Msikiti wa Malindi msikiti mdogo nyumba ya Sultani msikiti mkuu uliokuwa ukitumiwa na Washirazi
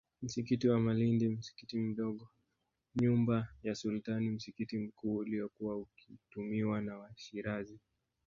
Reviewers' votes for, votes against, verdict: 1, 2, rejected